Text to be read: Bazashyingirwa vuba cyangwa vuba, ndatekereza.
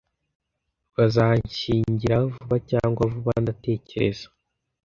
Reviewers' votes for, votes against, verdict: 1, 2, rejected